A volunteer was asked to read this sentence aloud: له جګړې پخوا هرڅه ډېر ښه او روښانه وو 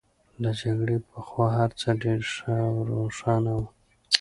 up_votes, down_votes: 2, 0